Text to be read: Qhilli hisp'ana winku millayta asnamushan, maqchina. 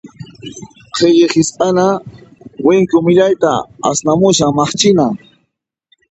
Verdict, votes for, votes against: accepted, 2, 0